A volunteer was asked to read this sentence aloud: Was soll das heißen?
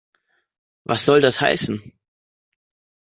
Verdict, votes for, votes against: accepted, 2, 0